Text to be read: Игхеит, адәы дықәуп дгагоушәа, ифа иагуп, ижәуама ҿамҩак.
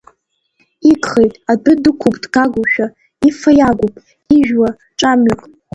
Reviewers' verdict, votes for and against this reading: rejected, 1, 2